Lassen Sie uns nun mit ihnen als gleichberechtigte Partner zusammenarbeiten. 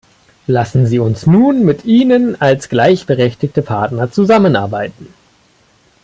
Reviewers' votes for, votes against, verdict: 2, 0, accepted